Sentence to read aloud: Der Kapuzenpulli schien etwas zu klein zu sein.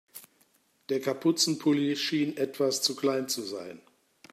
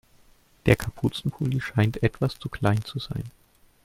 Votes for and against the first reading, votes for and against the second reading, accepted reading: 2, 0, 2, 3, first